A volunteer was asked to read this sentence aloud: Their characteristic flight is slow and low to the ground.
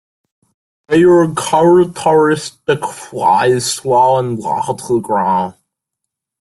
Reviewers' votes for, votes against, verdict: 1, 2, rejected